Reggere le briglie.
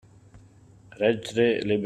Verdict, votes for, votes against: rejected, 0, 2